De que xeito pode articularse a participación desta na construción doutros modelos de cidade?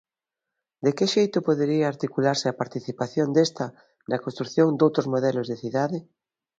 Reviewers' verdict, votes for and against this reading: rejected, 1, 2